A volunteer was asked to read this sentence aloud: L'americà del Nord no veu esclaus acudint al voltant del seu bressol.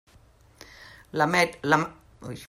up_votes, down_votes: 0, 2